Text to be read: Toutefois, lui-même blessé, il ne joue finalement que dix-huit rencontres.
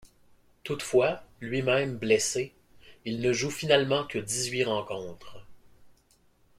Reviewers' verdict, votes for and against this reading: rejected, 1, 2